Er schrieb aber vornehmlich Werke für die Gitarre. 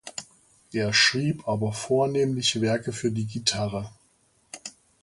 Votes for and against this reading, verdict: 2, 0, accepted